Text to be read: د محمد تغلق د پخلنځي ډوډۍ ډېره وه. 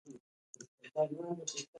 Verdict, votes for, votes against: rejected, 0, 2